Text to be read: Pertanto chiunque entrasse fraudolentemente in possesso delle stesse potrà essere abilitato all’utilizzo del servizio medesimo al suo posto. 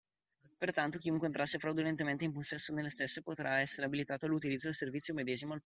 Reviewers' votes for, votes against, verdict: 0, 2, rejected